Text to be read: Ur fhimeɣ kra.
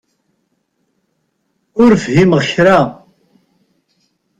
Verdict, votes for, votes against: accepted, 4, 0